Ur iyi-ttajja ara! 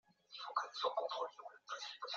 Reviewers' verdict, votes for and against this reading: rejected, 0, 2